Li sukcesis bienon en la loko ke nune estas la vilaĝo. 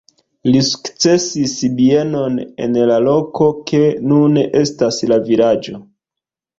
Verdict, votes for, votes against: rejected, 1, 2